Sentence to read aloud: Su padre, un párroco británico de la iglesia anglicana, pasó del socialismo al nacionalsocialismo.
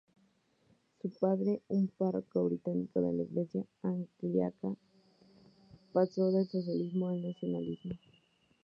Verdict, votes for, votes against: accepted, 2, 0